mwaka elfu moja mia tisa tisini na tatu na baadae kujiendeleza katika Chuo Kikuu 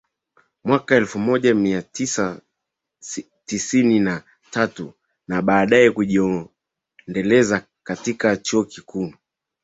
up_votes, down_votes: 2, 0